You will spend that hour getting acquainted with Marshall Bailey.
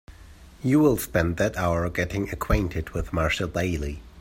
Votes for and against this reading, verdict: 3, 0, accepted